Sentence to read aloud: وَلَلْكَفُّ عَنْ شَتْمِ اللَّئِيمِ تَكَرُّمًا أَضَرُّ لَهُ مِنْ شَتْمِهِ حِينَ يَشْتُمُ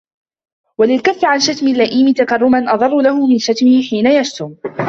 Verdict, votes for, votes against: accepted, 2, 1